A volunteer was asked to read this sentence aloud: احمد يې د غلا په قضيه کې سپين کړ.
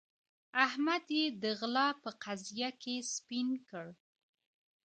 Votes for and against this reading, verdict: 2, 1, accepted